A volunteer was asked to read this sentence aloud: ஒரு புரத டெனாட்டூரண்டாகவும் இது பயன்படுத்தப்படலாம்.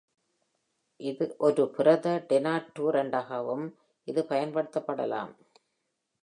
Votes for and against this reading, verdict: 1, 2, rejected